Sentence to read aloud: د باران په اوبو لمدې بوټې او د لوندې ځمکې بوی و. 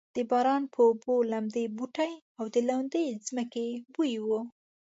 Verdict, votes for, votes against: accepted, 2, 0